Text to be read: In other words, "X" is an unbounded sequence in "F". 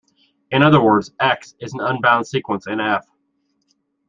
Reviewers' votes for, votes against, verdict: 1, 2, rejected